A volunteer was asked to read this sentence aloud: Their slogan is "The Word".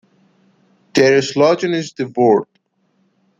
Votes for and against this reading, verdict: 2, 0, accepted